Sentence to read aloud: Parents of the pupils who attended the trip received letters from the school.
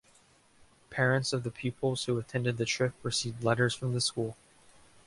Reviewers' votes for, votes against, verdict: 2, 0, accepted